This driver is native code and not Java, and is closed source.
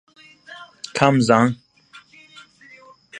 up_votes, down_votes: 0, 2